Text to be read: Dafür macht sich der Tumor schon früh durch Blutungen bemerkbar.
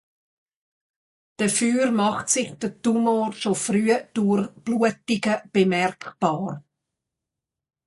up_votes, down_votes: 0, 2